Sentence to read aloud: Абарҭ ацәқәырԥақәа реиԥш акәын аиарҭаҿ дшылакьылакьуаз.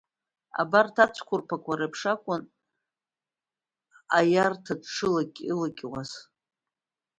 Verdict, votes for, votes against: rejected, 1, 2